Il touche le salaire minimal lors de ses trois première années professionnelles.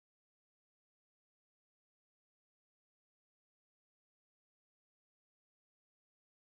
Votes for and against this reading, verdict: 0, 2, rejected